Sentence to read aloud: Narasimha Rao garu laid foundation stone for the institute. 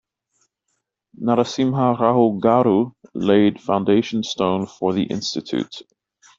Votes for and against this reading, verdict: 2, 1, accepted